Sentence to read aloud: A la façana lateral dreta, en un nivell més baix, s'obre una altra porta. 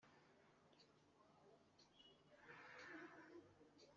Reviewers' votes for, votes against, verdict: 0, 2, rejected